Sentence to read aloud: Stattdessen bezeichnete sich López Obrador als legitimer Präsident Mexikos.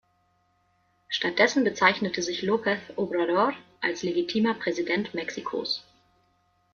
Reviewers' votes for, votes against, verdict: 2, 0, accepted